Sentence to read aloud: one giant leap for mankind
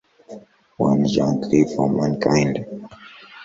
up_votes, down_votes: 1, 2